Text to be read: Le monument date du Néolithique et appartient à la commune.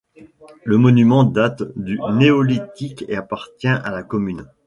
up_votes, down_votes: 0, 2